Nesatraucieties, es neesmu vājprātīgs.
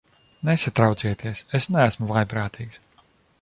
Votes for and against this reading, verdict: 2, 0, accepted